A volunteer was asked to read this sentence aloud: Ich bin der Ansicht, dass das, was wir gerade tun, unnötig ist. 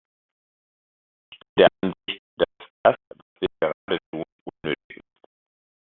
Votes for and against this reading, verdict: 0, 2, rejected